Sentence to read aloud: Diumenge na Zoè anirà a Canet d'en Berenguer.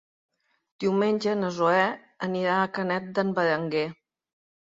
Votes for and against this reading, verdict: 3, 0, accepted